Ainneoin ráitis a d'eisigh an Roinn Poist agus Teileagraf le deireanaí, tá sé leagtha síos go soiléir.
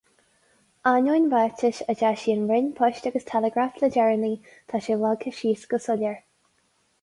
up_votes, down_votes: 2, 2